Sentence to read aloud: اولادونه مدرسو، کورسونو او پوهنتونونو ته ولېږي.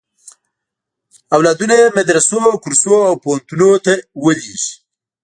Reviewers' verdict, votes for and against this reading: rejected, 0, 2